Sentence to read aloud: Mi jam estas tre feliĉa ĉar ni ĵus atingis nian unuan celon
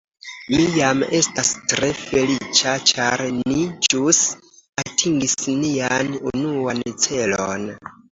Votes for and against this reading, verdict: 2, 0, accepted